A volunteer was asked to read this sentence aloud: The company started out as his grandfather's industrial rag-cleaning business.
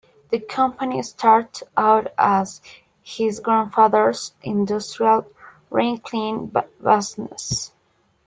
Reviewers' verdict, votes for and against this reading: rejected, 0, 2